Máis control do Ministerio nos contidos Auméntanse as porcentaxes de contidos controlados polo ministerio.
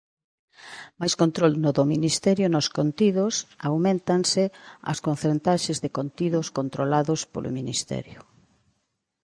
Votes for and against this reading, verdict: 0, 2, rejected